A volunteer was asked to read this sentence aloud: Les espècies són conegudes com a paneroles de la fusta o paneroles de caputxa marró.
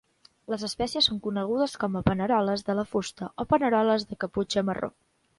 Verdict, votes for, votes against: accepted, 2, 0